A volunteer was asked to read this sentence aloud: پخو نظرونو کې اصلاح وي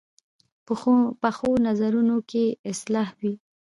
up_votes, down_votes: 2, 0